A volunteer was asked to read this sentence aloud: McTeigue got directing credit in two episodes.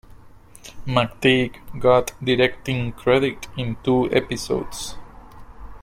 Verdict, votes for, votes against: accepted, 2, 1